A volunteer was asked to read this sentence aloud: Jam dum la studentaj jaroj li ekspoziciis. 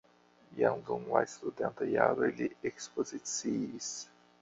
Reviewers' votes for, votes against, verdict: 1, 2, rejected